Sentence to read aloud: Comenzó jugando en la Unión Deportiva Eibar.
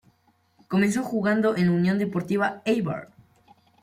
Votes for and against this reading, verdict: 0, 2, rejected